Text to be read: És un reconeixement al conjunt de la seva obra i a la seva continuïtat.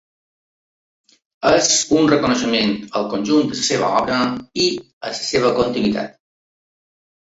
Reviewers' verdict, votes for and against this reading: rejected, 1, 2